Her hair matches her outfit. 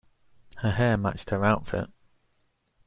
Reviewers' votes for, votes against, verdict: 0, 2, rejected